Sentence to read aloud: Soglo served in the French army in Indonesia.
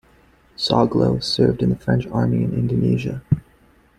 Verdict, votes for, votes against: accepted, 2, 0